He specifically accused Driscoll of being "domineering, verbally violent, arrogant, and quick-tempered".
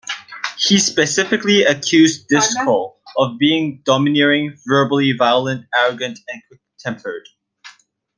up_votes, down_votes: 2, 0